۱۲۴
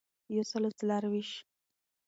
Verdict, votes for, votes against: rejected, 0, 2